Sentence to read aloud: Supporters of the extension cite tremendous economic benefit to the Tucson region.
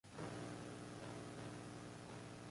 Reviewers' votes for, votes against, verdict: 0, 2, rejected